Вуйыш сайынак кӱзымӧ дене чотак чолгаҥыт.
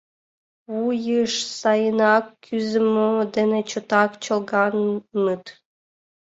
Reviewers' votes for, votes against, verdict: 1, 2, rejected